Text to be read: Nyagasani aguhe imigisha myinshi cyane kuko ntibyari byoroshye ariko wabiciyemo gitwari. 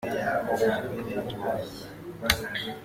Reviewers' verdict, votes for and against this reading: rejected, 0, 2